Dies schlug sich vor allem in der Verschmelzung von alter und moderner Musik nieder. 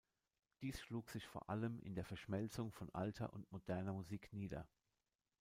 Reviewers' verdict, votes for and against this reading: rejected, 1, 2